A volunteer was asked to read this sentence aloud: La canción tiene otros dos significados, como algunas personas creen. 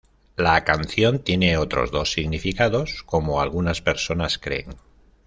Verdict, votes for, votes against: accepted, 2, 0